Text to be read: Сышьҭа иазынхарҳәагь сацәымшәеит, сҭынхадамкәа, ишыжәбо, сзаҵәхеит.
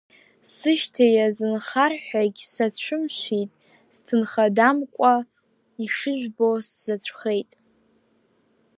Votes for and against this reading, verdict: 0, 2, rejected